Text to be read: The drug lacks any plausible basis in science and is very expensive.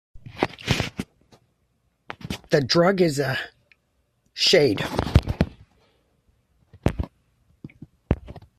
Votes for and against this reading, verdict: 0, 2, rejected